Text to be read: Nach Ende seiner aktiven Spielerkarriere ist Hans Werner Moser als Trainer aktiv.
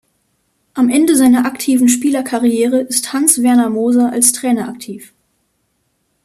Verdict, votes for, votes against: rejected, 0, 2